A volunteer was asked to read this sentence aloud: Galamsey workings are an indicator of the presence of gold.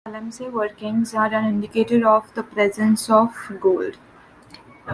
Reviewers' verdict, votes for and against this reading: accepted, 2, 0